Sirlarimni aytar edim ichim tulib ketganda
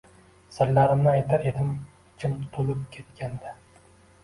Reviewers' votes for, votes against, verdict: 2, 0, accepted